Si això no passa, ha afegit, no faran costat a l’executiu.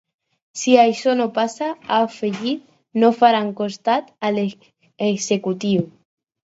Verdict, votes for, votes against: rejected, 0, 2